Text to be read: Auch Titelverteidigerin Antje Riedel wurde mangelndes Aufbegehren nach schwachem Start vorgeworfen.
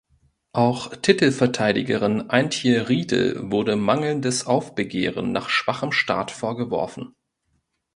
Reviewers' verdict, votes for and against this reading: accepted, 2, 0